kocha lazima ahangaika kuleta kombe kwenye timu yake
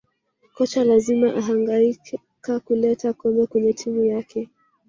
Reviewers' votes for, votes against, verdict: 1, 2, rejected